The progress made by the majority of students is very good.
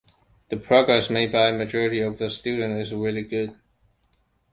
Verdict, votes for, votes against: rejected, 0, 2